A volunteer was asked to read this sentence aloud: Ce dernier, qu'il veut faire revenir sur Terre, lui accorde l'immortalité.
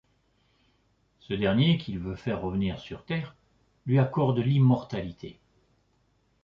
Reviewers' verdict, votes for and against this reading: accepted, 2, 0